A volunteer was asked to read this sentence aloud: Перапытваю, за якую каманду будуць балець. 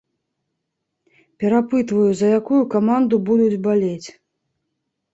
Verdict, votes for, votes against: accepted, 2, 0